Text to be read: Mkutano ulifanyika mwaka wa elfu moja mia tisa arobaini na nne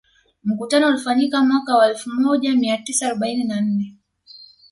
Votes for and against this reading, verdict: 2, 0, accepted